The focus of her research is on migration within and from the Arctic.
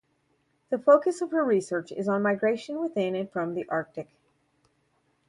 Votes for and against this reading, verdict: 2, 2, rejected